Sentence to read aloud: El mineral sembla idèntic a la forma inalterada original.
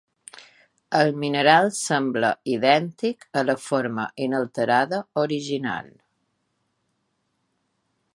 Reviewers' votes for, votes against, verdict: 2, 0, accepted